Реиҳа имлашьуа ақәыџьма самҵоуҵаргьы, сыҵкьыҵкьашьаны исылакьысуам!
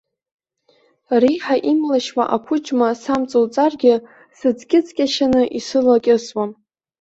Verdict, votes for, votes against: accepted, 2, 1